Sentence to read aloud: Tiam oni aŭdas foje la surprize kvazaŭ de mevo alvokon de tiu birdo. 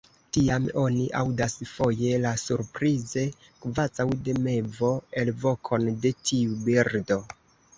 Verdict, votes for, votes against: accepted, 2, 1